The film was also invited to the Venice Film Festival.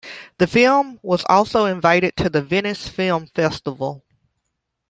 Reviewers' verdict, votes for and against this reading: accepted, 2, 0